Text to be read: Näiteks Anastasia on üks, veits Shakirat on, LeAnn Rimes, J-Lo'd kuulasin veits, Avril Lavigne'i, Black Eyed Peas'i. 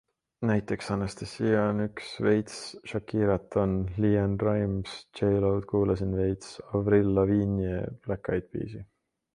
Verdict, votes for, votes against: accepted, 2, 0